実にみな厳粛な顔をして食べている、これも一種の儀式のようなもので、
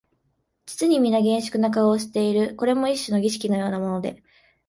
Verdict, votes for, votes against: accepted, 4, 0